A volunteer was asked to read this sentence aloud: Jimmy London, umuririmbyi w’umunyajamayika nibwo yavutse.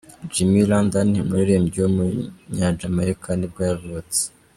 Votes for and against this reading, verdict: 2, 1, accepted